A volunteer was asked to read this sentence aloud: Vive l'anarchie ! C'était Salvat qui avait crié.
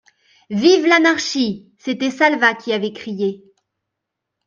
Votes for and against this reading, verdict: 3, 1, accepted